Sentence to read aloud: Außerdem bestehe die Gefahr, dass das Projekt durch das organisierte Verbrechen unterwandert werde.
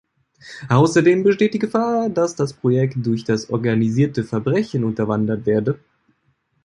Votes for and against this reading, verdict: 1, 2, rejected